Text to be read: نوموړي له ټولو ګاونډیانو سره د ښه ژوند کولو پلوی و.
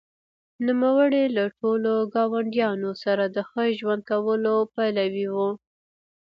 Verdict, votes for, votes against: rejected, 1, 2